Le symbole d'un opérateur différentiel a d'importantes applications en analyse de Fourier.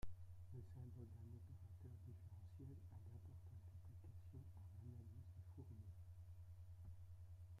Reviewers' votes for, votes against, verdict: 0, 2, rejected